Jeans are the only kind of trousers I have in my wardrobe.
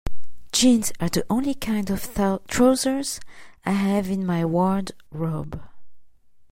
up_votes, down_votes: 0, 2